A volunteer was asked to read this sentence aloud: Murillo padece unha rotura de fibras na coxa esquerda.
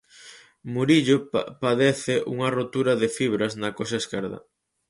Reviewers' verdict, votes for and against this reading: rejected, 0, 4